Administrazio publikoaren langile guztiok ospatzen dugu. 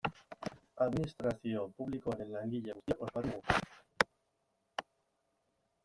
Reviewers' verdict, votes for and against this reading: rejected, 1, 2